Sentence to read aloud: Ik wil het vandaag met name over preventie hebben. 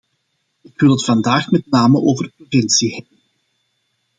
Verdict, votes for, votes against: rejected, 0, 2